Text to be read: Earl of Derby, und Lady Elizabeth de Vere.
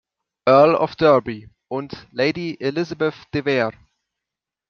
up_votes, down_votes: 2, 0